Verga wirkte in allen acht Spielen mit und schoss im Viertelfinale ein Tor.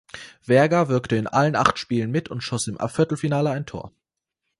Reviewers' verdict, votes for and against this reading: rejected, 1, 2